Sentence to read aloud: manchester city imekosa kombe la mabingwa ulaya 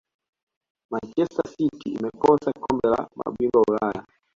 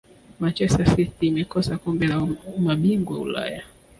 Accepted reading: second